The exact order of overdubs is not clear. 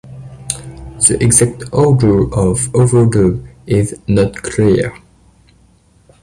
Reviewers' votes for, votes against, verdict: 0, 2, rejected